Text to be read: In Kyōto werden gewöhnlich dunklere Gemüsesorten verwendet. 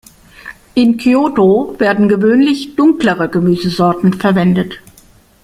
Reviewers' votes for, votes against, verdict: 2, 0, accepted